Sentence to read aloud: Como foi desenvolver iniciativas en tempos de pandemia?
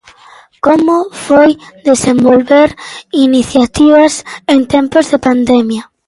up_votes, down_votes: 2, 0